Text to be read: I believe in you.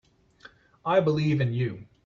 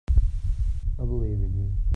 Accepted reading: first